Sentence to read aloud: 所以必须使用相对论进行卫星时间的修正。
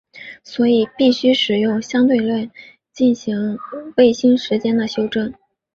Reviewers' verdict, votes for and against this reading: accepted, 2, 0